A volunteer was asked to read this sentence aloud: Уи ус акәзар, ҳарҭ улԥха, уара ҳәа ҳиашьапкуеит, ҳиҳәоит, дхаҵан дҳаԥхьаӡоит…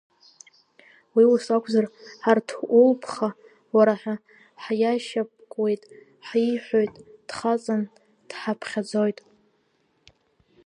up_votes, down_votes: 2, 1